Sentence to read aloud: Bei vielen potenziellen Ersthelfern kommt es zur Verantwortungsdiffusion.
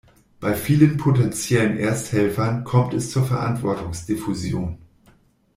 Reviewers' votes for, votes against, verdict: 2, 0, accepted